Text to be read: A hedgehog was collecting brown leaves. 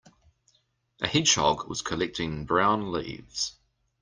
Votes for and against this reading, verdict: 2, 0, accepted